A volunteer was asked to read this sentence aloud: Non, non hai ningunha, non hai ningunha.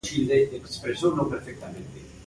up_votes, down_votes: 0, 2